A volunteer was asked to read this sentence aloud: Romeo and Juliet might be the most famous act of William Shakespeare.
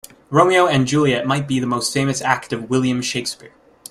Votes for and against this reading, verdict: 2, 0, accepted